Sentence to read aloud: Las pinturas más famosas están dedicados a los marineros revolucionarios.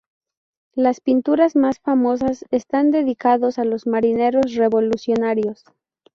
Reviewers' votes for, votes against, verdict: 2, 2, rejected